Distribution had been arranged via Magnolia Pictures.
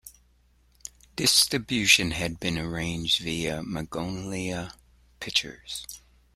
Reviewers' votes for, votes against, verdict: 2, 1, accepted